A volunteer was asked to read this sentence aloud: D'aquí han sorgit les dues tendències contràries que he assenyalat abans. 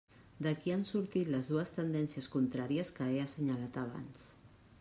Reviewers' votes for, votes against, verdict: 0, 2, rejected